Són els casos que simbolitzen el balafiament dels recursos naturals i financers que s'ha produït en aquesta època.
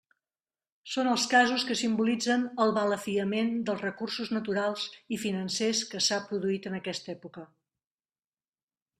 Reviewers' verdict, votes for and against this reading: accepted, 2, 0